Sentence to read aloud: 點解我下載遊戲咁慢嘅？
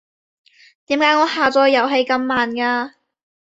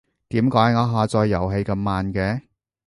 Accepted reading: second